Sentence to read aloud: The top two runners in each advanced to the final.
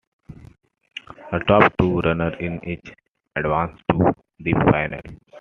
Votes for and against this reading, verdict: 2, 0, accepted